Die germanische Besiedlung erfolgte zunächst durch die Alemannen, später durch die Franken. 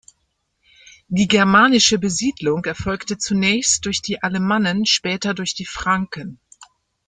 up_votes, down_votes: 2, 0